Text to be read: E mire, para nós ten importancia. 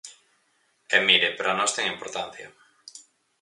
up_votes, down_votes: 4, 0